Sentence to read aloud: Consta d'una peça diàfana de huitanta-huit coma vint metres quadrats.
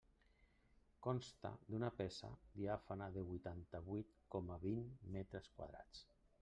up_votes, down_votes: 1, 2